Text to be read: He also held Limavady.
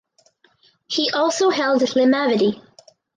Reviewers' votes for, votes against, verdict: 4, 0, accepted